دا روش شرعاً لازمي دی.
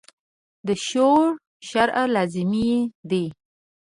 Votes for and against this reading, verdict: 0, 3, rejected